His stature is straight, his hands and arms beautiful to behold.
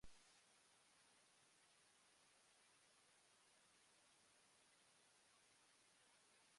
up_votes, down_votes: 0, 2